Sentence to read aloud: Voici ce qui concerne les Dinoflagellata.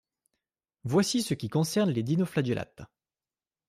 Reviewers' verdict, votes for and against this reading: accepted, 2, 0